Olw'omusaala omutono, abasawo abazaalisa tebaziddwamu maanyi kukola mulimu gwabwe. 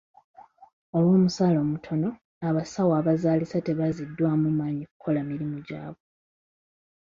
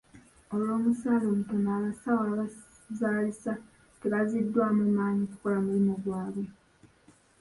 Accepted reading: first